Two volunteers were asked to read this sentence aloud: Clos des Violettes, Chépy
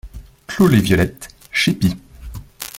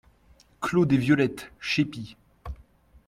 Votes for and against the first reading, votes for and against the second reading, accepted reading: 0, 2, 2, 0, second